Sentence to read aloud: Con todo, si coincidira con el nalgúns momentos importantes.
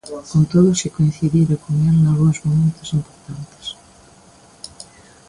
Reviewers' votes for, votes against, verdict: 0, 2, rejected